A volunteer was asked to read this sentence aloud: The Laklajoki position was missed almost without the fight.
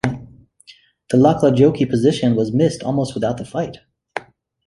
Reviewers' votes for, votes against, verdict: 2, 0, accepted